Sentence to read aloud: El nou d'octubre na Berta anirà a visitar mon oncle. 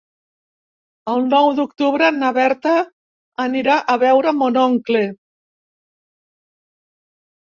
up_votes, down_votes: 0, 2